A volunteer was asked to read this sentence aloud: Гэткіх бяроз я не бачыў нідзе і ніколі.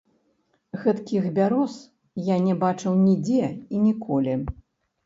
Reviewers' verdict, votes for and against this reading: rejected, 1, 2